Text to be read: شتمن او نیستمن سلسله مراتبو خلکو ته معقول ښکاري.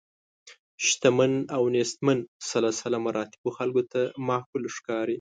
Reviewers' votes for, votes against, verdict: 2, 0, accepted